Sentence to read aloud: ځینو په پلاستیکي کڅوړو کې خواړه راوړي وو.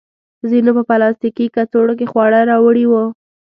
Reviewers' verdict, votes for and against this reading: accepted, 2, 0